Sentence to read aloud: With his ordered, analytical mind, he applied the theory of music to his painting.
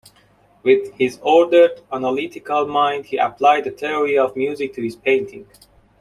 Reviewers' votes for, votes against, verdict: 2, 0, accepted